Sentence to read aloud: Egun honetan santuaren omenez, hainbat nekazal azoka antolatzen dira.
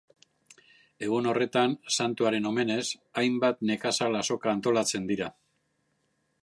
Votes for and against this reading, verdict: 1, 2, rejected